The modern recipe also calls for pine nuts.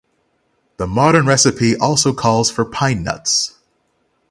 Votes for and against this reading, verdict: 6, 0, accepted